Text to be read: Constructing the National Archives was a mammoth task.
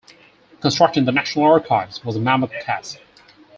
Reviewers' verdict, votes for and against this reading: accepted, 4, 0